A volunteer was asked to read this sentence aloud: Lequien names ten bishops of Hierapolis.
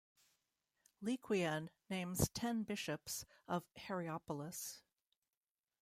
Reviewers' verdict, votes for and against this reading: rejected, 1, 2